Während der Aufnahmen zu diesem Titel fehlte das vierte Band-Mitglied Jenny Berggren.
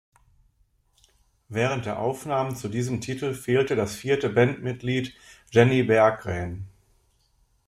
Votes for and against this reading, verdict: 2, 0, accepted